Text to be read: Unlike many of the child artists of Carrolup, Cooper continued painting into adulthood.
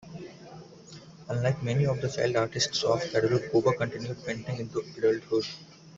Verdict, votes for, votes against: rejected, 1, 2